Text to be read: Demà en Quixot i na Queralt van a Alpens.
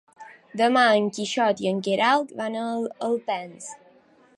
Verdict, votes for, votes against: rejected, 1, 2